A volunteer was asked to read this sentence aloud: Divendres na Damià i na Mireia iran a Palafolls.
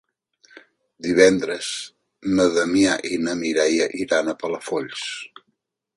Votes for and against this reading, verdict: 3, 0, accepted